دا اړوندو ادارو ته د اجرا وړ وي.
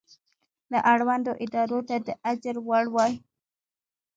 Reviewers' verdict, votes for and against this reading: rejected, 1, 2